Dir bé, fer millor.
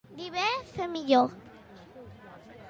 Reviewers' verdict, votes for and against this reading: accepted, 2, 1